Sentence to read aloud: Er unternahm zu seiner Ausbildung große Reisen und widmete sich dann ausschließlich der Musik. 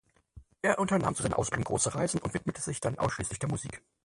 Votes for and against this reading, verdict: 0, 4, rejected